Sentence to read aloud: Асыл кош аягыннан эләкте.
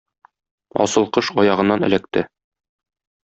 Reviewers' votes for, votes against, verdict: 2, 0, accepted